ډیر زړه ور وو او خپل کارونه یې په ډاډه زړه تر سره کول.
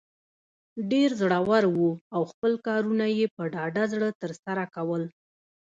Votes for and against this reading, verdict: 2, 0, accepted